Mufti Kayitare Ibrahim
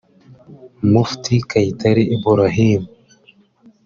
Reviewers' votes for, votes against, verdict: 3, 0, accepted